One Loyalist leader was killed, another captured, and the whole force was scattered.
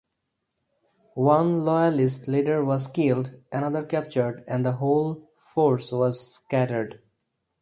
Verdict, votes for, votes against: accepted, 4, 0